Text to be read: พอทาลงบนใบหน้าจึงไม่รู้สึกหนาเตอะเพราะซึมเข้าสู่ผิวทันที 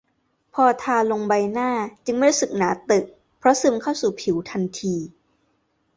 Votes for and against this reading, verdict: 0, 2, rejected